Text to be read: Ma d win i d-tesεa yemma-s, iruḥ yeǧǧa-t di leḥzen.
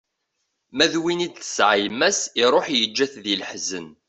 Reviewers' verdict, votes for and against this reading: accepted, 2, 0